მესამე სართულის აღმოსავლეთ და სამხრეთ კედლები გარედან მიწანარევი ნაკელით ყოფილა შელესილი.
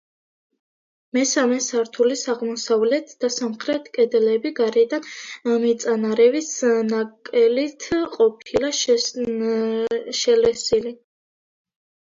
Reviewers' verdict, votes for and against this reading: rejected, 0, 2